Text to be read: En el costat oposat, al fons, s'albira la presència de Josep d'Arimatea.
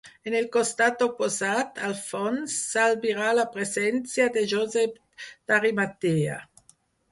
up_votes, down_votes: 2, 4